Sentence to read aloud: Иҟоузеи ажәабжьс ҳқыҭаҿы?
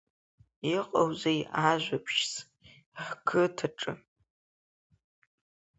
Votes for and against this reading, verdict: 3, 0, accepted